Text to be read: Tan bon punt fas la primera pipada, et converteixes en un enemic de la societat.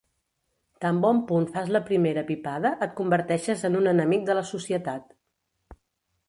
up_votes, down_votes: 3, 0